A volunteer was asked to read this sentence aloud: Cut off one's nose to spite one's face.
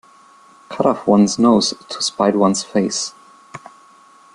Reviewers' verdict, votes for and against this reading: accepted, 2, 0